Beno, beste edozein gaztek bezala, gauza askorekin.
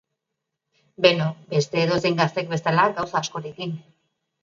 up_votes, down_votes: 2, 0